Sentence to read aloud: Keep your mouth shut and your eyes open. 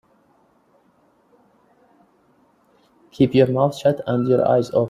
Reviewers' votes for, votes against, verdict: 0, 3, rejected